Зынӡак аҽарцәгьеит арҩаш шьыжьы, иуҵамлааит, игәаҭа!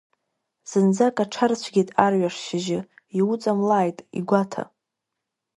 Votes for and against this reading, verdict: 0, 2, rejected